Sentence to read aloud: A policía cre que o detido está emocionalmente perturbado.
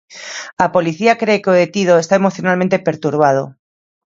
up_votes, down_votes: 2, 0